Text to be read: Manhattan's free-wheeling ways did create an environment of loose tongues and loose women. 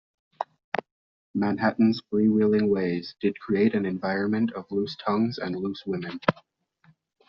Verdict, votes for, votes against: accepted, 2, 1